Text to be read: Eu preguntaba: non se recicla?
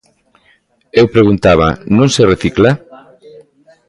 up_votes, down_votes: 3, 0